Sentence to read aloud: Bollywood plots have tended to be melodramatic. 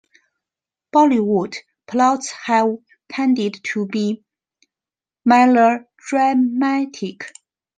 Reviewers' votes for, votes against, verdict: 2, 1, accepted